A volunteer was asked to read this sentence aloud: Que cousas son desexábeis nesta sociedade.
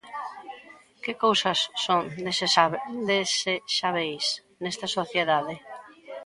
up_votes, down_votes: 0, 2